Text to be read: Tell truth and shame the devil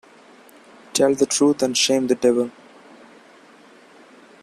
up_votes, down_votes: 0, 3